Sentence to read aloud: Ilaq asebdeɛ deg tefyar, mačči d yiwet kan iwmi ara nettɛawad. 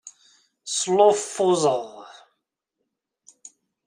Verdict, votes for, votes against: rejected, 0, 2